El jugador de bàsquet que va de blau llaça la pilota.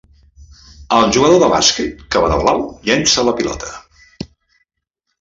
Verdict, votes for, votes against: rejected, 0, 2